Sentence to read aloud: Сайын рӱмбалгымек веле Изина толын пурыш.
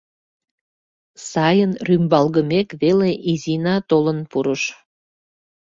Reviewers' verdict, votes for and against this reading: accepted, 2, 0